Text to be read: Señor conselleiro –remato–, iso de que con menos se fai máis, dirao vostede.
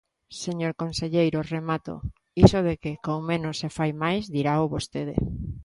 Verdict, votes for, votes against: accepted, 2, 0